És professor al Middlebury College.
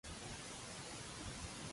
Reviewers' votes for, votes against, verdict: 0, 2, rejected